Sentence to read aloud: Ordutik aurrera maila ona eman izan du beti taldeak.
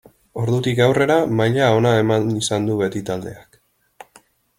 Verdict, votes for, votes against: rejected, 1, 2